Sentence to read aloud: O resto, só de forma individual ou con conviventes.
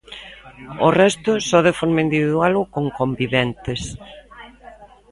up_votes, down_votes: 2, 0